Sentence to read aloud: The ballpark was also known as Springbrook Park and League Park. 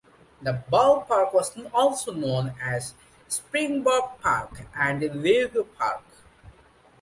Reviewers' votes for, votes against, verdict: 1, 2, rejected